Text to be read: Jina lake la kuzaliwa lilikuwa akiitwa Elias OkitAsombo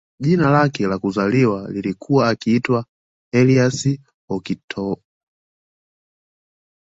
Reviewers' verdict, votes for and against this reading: rejected, 1, 2